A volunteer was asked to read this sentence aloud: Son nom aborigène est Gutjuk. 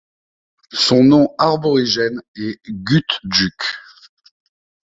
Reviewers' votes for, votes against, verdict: 0, 2, rejected